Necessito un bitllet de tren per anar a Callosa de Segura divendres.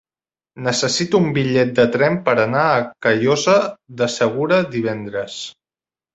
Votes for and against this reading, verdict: 3, 1, accepted